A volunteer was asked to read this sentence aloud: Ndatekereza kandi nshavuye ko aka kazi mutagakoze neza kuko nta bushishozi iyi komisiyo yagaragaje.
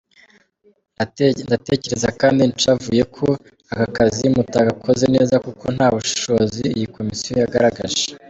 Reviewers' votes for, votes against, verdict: 1, 2, rejected